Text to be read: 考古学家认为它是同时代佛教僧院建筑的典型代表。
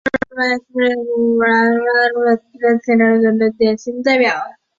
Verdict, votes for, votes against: rejected, 0, 2